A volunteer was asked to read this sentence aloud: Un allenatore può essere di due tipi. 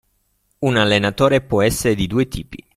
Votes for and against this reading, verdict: 2, 0, accepted